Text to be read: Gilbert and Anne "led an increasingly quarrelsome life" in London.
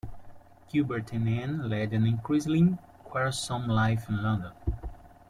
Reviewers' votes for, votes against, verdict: 2, 1, accepted